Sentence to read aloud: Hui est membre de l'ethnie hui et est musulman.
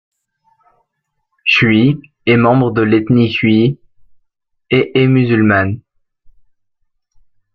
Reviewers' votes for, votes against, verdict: 0, 2, rejected